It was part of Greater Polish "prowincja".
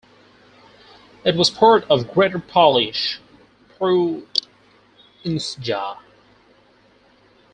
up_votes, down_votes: 0, 4